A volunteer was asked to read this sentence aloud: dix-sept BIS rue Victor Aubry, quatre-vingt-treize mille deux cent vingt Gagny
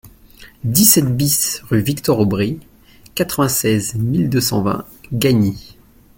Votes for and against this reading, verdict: 0, 2, rejected